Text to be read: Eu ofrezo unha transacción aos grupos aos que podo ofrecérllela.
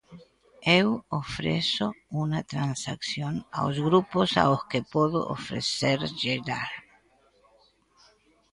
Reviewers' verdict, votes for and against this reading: rejected, 1, 2